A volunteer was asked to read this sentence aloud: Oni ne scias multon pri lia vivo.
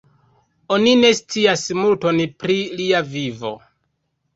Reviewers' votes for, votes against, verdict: 2, 1, accepted